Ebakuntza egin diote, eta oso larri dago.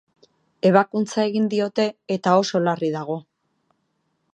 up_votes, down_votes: 2, 0